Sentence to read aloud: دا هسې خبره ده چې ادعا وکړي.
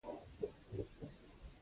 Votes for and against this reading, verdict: 1, 2, rejected